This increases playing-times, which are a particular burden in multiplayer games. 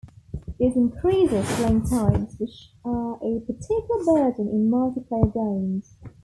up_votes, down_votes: 2, 0